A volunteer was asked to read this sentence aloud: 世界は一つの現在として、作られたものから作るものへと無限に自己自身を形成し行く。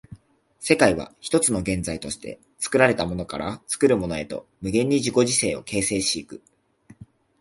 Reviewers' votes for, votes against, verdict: 0, 2, rejected